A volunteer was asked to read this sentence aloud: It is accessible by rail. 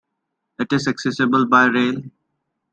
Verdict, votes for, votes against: accepted, 2, 0